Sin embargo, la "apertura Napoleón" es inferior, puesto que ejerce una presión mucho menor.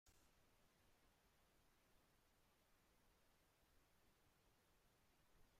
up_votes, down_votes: 1, 2